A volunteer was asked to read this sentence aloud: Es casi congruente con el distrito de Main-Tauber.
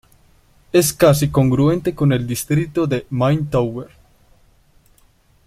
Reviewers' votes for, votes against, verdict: 2, 1, accepted